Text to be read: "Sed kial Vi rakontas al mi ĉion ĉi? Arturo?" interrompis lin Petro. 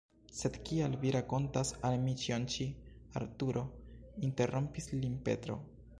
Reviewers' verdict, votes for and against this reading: rejected, 0, 2